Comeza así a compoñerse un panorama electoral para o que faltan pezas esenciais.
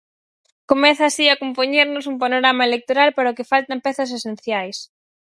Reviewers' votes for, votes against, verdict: 0, 4, rejected